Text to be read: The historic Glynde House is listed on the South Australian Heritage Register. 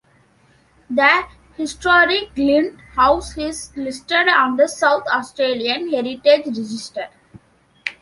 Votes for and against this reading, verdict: 2, 0, accepted